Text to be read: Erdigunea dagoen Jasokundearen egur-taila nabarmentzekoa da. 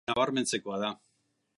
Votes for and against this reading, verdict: 0, 2, rejected